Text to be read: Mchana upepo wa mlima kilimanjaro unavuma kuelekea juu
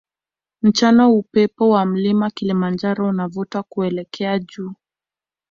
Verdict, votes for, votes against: rejected, 0, 2